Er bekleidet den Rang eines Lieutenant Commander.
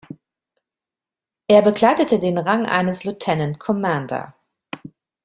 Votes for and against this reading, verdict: 1, 2, rejected